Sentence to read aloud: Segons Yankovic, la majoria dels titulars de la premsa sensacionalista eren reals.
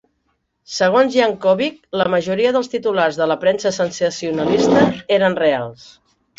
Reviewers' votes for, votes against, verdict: 1, 2, rejected